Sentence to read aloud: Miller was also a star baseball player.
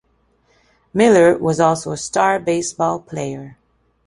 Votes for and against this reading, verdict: 2, 0, accepted